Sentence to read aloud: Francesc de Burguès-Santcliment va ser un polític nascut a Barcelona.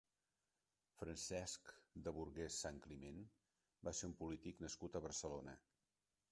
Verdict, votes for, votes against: accepted, 3, 0